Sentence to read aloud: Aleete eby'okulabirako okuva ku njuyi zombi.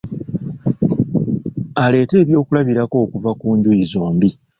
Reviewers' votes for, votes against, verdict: 0, 2, rejected